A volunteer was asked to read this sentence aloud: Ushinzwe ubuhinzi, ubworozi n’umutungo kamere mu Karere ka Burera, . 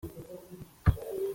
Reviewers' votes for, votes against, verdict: 0, 2, rejected